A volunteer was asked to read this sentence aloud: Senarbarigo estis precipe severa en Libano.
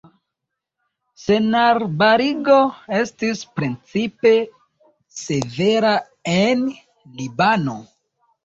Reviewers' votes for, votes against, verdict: 0, 2, rejected